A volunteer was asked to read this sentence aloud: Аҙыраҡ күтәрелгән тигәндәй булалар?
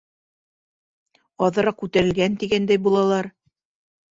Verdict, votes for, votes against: accepted, 5, 0